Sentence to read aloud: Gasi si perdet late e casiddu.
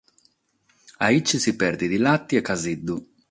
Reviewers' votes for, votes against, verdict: 0, 6, rejected